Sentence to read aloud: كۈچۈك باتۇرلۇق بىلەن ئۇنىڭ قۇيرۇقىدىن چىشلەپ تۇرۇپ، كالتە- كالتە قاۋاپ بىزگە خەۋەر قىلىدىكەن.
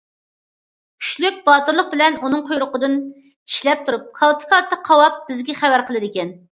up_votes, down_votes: 0, 2